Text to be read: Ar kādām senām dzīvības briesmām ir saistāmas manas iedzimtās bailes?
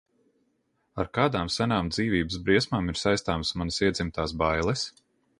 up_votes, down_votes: 2, 0